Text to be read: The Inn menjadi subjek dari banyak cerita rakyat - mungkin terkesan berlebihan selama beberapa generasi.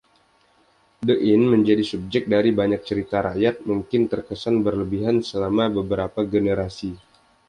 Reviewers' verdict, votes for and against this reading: accepted, 2, 0